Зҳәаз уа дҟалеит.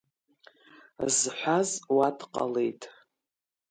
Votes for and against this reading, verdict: 2, 0, accepted